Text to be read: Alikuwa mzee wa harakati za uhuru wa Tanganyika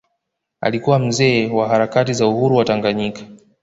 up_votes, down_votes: 1, 2